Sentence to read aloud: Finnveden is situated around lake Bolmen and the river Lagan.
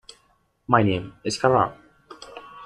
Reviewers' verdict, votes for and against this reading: rejected, 0, 2